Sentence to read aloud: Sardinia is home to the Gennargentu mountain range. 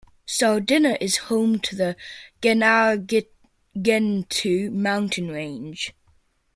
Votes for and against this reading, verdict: 0, 2, rejected